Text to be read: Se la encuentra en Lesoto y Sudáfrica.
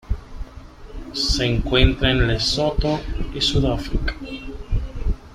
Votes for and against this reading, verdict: 0, 2, rejected